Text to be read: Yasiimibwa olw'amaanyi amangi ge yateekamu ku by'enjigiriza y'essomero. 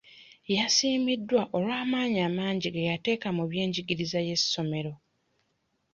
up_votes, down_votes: 0, 2